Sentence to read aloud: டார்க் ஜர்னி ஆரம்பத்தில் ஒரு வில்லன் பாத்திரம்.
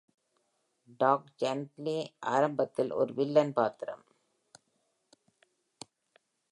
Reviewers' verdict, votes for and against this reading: accepted, 2, 0